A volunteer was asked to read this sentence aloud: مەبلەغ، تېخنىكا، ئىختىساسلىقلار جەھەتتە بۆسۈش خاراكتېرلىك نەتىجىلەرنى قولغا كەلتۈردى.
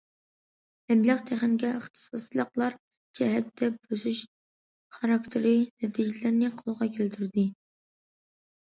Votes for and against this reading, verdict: 1, 2, rejected